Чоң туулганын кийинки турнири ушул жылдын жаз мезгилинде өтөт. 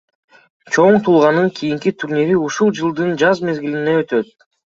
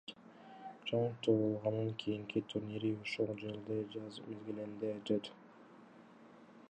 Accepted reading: second